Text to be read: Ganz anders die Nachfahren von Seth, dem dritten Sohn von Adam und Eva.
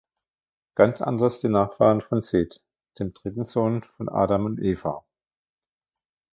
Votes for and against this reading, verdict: 2, 0, accepted